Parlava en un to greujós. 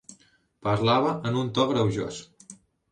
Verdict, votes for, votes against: accepted, 4, 0